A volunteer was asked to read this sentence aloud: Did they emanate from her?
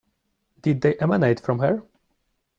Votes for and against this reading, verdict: 2, 0, accepted